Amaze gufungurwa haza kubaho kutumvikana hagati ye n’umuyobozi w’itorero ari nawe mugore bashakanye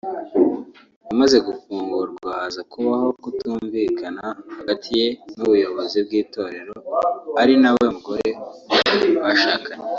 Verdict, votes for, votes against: rejected, 1, 2